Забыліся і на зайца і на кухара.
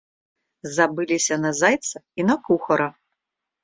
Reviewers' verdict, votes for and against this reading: rejected, 0, 2